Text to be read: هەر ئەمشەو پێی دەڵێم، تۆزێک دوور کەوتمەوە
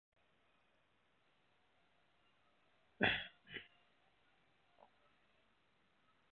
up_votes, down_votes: 0, 2